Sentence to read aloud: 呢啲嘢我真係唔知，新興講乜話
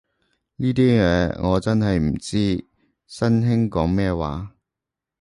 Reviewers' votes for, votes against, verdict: 1, 2, rejected